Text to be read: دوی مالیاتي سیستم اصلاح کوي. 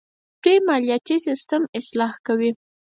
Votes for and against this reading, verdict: 2, 4, rejected